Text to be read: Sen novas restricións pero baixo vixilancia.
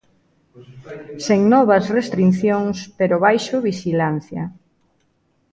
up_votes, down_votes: 0, 2